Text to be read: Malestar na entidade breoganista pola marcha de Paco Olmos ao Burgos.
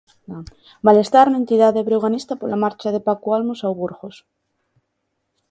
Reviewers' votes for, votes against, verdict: 1, 2, rejected